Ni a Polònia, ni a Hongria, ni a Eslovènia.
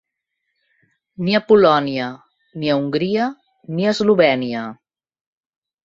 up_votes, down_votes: 3, 0